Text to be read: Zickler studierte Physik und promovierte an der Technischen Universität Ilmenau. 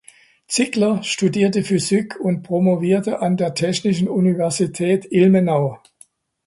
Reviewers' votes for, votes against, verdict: 2, 0, accepted